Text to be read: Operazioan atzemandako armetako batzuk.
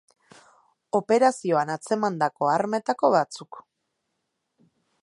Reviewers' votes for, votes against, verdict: 3, 0, accepted